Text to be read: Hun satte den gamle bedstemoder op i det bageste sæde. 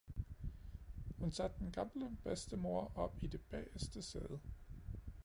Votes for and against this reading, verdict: 2, 0, accepted